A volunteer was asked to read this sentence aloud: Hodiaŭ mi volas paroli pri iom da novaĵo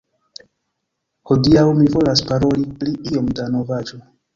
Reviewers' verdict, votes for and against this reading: accepted, 2, 1